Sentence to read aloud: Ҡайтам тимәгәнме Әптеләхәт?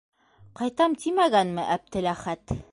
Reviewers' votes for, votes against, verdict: 2, 0, accepted